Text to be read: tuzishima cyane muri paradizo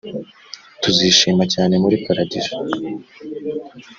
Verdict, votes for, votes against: rejected, 1, 2